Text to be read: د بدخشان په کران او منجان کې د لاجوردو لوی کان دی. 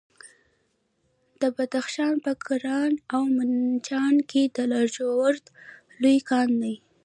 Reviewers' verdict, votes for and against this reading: rejected, 1, 2